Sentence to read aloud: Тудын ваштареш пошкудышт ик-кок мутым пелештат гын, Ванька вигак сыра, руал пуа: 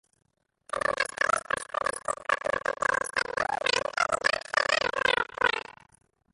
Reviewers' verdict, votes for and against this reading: rejected, 0, 2